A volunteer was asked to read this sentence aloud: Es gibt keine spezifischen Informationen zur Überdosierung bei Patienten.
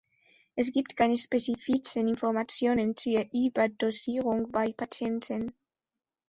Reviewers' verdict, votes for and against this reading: rejected, 0, 2